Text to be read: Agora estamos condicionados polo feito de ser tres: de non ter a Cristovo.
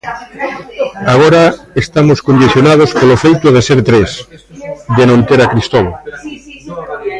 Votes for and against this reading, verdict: 0, 2, rejected